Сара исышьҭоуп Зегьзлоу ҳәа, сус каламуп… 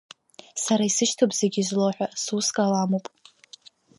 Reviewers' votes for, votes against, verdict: 3, 0, accepted